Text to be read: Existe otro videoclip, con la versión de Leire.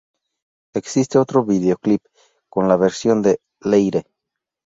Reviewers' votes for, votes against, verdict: 2, 2, rejected